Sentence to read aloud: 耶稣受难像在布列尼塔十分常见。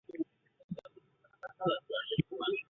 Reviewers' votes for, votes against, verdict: 1, 3, rejected